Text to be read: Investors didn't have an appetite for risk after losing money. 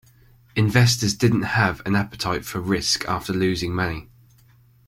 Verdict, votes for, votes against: accepted, 2, 0